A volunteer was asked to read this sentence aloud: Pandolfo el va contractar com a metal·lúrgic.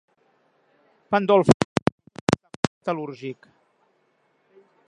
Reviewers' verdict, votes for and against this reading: rejected, 0, 2